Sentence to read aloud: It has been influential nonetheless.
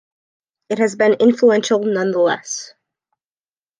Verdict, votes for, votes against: accepted, 2, 0